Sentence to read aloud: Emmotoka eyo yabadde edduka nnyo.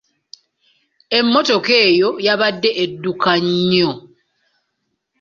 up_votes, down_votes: 2, 0